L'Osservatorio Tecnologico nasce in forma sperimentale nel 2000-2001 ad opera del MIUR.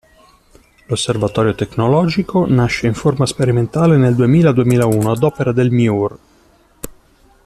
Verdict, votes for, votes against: rejected, 0, 2